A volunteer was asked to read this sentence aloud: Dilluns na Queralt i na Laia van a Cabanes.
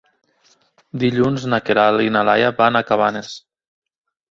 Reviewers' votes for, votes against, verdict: 2, 0, accepted